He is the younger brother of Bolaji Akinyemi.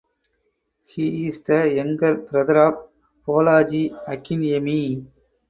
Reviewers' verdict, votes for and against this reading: rejected, 2, 2